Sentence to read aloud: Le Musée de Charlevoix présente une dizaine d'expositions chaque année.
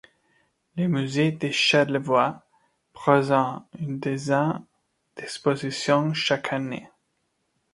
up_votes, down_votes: 1, 2